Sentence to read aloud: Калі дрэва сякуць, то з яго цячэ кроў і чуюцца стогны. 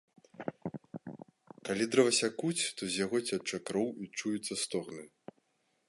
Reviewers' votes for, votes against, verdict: 2, 0, accepted